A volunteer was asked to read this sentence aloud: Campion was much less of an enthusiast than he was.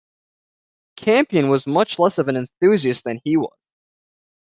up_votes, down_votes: 1, 2